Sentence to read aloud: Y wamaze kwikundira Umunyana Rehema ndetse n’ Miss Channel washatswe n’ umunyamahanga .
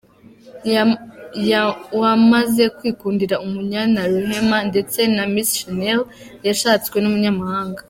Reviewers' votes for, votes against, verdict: 0, 2, rejected